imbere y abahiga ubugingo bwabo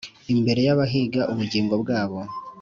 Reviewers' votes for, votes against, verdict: 2, 0, accepted